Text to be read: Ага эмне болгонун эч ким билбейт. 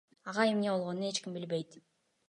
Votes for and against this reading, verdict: 2, 0, accepted